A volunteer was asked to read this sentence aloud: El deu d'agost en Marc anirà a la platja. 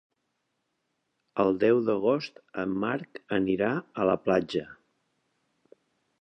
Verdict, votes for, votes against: accepted, 2, 1